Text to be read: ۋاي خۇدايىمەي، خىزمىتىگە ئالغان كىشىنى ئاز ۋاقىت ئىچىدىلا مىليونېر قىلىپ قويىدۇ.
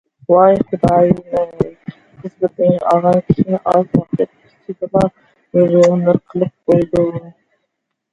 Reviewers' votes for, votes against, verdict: 0, 2, rejected